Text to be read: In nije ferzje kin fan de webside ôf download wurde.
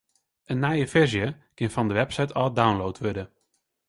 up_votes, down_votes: 0, 2